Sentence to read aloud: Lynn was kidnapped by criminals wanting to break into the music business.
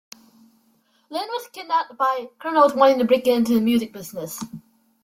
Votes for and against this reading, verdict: 3, 1, accepted